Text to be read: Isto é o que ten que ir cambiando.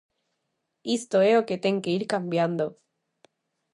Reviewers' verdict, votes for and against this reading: accepted, 2, 0